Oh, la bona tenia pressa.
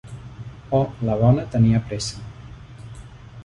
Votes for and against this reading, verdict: 3, 0, accepted